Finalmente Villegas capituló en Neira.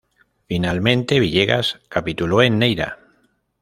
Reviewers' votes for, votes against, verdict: 2, 0, accepted